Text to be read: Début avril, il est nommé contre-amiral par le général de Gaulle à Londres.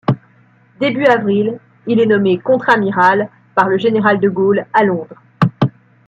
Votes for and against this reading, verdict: 2, 0, accepted